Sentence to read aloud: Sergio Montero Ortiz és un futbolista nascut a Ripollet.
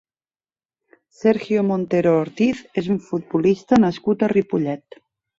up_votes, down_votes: 3, 0